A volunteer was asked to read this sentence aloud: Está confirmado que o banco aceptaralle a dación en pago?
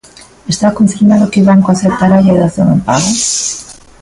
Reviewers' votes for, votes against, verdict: 1, 2, rejected